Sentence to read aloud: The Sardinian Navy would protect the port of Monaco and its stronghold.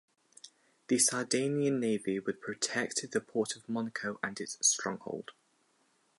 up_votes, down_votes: 0, 2